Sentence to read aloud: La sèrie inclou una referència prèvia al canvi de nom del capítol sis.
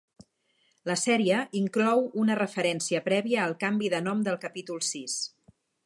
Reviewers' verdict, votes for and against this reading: accepted, 4, 0